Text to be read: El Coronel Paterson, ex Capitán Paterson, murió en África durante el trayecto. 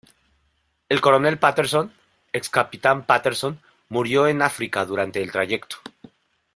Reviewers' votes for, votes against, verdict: 2, 1, accepted